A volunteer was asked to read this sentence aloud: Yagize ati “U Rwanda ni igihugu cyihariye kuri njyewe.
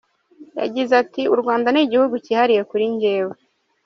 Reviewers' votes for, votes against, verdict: 2, 0, accepted